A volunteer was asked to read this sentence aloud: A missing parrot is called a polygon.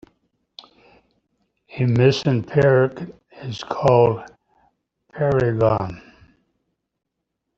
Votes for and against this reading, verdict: 0, 2, rejected